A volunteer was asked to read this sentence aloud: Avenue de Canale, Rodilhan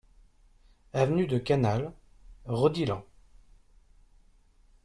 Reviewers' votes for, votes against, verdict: 2, 0, accepted